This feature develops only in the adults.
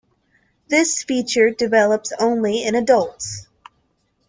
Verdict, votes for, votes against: rejected, 1, 2